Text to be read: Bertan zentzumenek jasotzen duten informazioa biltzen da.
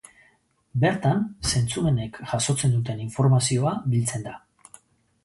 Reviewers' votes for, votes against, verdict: 2, 0, accepted